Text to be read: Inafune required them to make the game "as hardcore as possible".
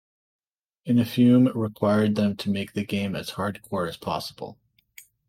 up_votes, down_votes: 2, 0